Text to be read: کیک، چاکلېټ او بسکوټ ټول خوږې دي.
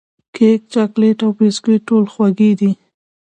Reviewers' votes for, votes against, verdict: 2, 0, accepted